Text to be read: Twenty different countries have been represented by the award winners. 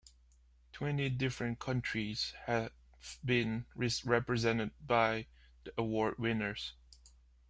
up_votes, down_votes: 1, 2